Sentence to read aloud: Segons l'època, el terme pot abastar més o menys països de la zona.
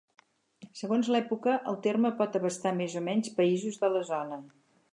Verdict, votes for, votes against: accepted, 8, 0